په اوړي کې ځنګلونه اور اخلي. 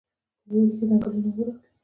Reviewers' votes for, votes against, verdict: 0, 2, rejected